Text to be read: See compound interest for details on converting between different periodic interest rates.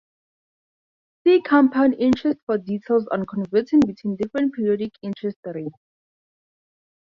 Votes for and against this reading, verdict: 2, 2, rejected